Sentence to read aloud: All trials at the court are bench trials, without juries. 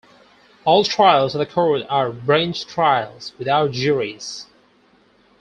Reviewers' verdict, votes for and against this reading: rejected, 0, 4